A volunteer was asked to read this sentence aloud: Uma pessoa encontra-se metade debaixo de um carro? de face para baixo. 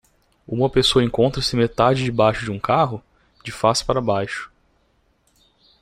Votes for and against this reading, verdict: 2, 0, accepted